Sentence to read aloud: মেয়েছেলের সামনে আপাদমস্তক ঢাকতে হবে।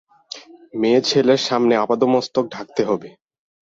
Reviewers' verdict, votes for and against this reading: accepted, 4, 0